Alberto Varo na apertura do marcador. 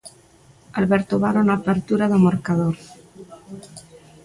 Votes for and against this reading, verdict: 2, 0, accepted